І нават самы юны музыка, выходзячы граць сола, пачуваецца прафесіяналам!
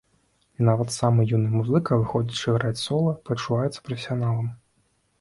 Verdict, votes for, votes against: accepted, 2, 0